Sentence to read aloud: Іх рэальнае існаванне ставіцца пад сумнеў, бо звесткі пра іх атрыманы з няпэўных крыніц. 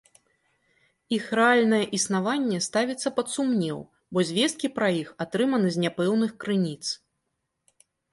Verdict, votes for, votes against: accepted, 3, 0